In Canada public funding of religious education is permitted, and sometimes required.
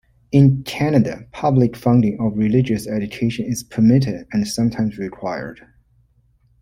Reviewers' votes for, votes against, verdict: 2, 0, accepted